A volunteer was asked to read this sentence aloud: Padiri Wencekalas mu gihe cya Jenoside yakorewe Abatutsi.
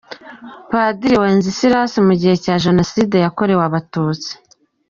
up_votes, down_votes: 2, 1